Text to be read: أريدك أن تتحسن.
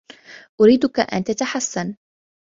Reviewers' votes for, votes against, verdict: 2, 0, accepted